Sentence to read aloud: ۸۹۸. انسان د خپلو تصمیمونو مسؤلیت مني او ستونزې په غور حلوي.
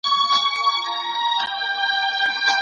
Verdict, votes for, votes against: rejected, 0, 2